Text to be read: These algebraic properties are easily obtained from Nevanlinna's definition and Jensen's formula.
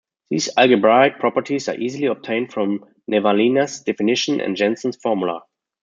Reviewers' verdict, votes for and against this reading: rejected, 1, 2